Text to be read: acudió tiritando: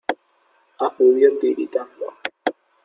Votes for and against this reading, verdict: 2, 0, accepted